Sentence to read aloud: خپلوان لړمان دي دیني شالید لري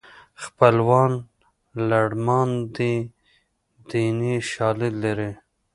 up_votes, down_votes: 0, 2